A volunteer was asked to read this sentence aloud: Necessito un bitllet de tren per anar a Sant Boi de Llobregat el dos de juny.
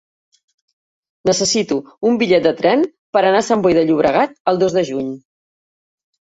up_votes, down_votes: 3, 0